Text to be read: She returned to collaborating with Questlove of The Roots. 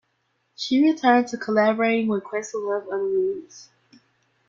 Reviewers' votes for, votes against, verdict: 1, 2, rejected